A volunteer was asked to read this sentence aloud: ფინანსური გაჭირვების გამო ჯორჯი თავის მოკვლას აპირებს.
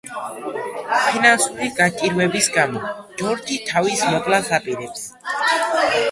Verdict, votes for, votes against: rejected, 1, 2